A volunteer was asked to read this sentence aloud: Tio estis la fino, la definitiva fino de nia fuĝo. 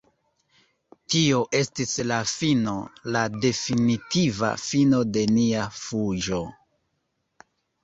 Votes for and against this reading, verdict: 1, 2, rejected